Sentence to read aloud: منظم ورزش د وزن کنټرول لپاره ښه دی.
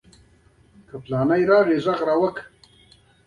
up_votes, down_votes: 1, 2